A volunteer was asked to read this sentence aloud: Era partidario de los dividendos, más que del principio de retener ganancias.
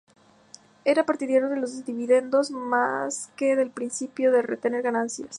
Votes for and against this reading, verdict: 2, 0, accepted